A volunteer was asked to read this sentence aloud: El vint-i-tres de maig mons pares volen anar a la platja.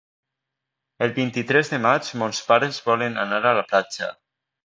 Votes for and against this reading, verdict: 2, 0, accepted